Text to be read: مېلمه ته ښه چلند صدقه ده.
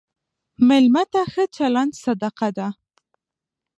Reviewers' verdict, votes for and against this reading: accepted, 2, 0